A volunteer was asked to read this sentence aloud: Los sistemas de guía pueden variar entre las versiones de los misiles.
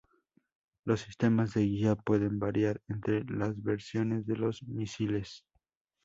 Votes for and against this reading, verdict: 0, 2, rejected